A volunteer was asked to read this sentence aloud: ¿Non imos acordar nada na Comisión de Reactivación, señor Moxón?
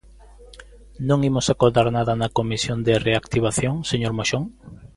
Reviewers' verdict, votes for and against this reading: accepted, 2, 0